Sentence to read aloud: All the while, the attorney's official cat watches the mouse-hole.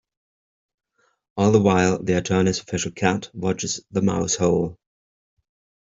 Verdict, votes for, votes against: accepted, 2, 0